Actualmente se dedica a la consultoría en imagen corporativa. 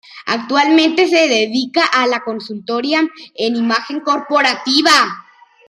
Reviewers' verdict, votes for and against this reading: accepted, 3, 0